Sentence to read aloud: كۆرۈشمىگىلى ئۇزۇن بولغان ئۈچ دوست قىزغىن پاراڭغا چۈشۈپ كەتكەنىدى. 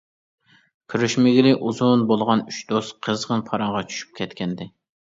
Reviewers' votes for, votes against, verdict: 2, 0, accepted